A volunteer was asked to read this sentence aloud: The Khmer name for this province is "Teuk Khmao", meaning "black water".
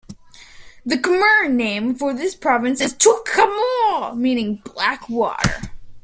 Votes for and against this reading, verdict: 1, 2, rejected